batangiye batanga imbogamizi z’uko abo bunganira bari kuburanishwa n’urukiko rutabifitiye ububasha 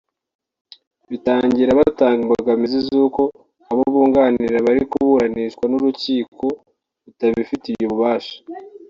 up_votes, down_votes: 1, 2